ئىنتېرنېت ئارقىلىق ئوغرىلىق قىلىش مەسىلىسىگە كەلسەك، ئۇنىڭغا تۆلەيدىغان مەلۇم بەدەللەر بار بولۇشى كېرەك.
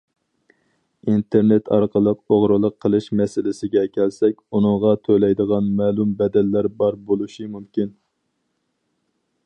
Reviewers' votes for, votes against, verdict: 0, 2, rejected